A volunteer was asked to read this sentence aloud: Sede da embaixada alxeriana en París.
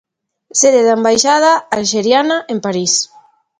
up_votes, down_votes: 3, 0